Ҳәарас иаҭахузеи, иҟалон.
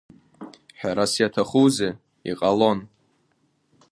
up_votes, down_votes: 2, 1